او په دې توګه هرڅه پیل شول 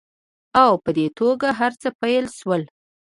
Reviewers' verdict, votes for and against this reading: accepted, 2, 0